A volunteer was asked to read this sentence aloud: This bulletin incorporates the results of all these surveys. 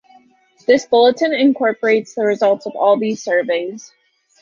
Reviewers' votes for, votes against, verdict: 2, 0, accepted